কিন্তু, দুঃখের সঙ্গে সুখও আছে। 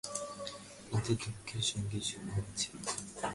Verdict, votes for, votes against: rejected, 0, 2